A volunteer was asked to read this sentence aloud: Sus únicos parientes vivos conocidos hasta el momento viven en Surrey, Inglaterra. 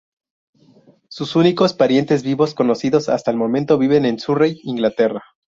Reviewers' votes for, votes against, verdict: 2, 0, accepted